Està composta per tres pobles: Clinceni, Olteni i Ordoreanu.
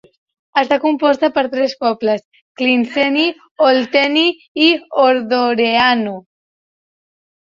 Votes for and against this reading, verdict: 1, 2, rejected